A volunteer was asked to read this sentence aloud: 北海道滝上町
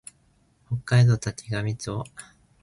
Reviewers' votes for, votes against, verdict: 4, 0, accepted